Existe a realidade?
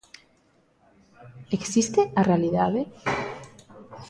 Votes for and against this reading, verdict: 2, 0, accepted